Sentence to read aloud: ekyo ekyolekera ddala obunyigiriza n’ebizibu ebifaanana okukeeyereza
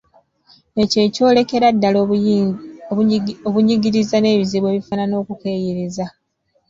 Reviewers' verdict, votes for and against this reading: rejected, 1, 2